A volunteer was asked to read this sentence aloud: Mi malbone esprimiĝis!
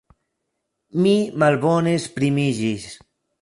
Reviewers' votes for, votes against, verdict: 2, 0, accepted